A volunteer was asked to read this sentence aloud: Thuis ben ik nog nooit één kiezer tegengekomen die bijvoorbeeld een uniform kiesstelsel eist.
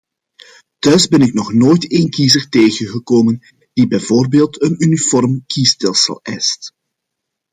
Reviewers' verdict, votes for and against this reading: accepted, 2, 0